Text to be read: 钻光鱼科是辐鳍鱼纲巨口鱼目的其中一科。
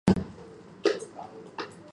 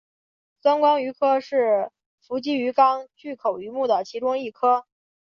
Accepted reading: second